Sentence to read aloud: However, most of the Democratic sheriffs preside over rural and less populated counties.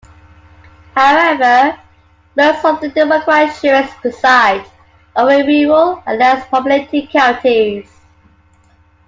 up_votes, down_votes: 2, 1